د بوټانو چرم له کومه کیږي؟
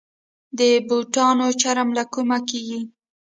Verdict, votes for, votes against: rejected, 0, 2